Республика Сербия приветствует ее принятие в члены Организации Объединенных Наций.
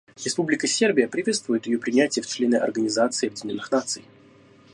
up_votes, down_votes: 0, 2